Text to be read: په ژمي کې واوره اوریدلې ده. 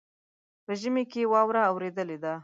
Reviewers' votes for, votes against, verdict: 0, 2, rejected